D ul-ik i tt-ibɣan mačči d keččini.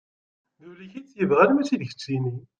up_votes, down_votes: 1, 2